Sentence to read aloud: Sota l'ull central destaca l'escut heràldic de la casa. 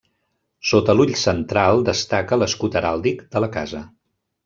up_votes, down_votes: 2, 0